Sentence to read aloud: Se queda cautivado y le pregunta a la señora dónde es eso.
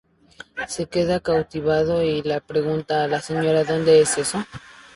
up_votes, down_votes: 0, 2